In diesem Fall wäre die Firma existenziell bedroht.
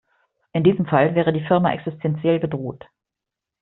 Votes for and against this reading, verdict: 2, 0, accepted